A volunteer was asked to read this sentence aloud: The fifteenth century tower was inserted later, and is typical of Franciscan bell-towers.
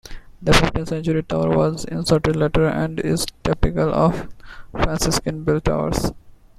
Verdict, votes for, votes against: rejected, 0, 2